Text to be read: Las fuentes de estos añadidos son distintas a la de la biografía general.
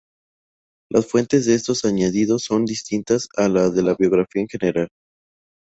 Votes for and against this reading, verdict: 2, 2, rejected